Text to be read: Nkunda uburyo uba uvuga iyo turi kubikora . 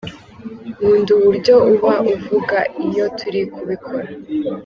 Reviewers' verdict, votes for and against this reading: accepted, 2, 0